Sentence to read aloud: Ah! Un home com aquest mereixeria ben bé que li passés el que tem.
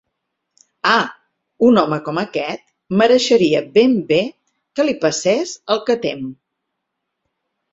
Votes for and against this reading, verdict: 4, 0, accepted